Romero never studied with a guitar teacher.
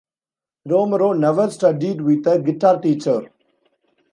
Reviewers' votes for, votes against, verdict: 2, 1, accepted